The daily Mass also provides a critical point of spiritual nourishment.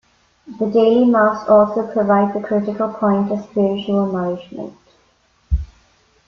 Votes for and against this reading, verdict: 2, 0, accepted